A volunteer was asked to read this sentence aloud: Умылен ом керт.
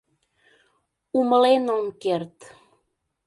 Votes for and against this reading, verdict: 2, 0, accepted